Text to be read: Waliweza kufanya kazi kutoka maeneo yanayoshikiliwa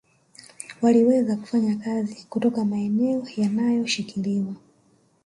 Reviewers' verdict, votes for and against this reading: accepted, 3, 1